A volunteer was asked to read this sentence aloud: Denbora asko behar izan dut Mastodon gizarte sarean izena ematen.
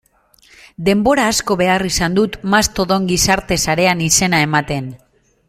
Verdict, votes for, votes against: accepted, 2, 0